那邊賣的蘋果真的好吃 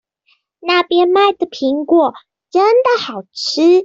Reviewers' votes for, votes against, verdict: 2, 0, accepted